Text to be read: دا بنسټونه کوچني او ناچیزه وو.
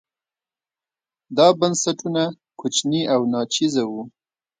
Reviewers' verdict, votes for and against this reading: accepted, 2, 0